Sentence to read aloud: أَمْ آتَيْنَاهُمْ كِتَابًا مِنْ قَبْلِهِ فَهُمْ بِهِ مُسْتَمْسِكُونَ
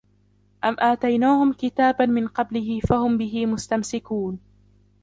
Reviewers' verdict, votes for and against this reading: rejected, 1, 2